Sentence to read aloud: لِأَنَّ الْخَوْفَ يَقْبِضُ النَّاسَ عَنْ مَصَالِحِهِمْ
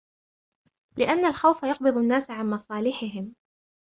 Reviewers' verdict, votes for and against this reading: accepted, 2, 0